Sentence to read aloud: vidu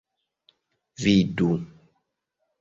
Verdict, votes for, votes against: accepted, 2, 0